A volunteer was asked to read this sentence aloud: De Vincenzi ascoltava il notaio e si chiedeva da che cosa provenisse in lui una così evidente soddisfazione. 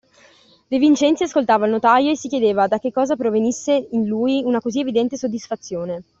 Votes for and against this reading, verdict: 2, 0, accepted